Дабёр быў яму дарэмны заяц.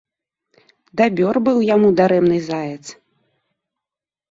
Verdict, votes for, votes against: rejected, 0, 2